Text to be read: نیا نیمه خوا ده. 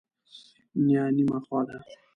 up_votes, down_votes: 1, 2